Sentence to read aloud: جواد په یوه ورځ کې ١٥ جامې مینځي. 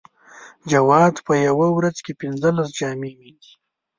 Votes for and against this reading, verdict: 0, 2, rejected